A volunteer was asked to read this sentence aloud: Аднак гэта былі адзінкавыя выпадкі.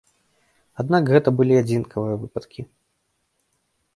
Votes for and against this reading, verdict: 2, 0, accepted